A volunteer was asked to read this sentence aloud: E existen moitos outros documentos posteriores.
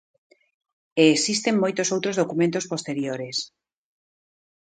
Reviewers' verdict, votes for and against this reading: accepted, 2, 1